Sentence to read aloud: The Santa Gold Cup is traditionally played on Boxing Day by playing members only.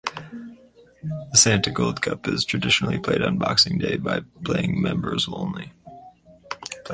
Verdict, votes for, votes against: rejected, 2, 2